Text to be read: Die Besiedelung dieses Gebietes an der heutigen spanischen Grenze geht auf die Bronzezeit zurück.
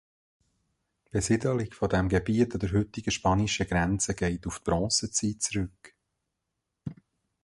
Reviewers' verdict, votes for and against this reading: rejected, 0, 2